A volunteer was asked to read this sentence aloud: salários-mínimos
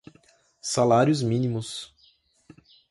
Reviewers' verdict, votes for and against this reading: accepted, 2, 0